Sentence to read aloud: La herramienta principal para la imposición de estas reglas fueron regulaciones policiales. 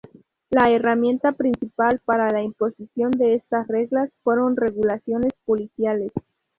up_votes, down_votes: 2, 0